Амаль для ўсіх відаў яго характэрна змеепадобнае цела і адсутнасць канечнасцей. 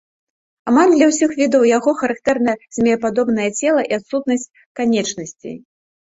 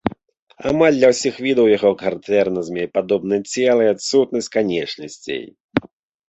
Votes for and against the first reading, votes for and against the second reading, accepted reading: 2, 0, 0, 2, first